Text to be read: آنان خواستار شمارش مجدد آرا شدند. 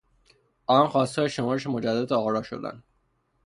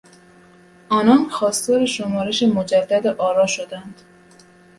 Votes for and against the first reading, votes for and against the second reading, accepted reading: 0, 3, 2, 0, second